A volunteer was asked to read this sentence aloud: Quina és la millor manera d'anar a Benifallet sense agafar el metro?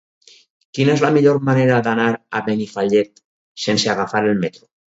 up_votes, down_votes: 4, 0